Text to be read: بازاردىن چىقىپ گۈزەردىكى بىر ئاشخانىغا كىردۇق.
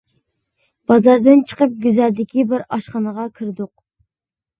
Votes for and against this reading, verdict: 2, 0, accepted